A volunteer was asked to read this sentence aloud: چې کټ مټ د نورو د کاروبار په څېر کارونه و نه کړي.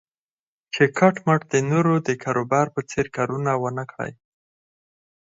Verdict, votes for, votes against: accepted, 4, 0